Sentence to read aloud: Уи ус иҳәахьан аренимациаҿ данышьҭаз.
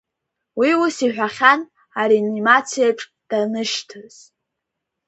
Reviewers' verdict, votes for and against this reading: accepted, 5, 2